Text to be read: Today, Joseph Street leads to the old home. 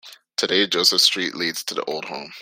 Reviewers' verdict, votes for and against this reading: accepted, 2, 0